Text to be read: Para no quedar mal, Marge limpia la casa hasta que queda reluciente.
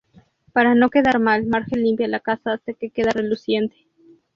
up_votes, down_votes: 2, 0